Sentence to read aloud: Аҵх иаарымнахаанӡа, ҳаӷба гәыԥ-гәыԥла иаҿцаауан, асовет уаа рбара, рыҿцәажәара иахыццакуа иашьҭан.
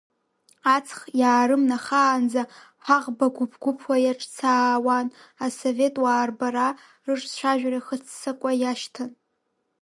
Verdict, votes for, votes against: rejected, 0, 2